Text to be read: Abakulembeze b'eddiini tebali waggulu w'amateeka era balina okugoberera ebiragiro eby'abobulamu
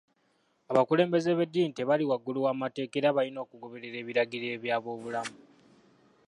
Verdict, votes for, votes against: accepted, 2, 1